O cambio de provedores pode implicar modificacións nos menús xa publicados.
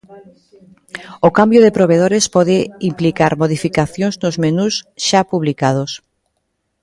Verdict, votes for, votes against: rejected, 1, 2